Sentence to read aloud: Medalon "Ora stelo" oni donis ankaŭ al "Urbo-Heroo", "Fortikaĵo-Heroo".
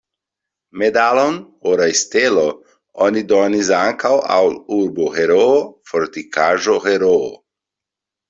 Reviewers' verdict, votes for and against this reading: rejected, 1, 2